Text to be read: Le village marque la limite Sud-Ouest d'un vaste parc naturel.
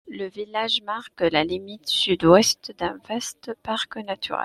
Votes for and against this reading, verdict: 2, 0, accepted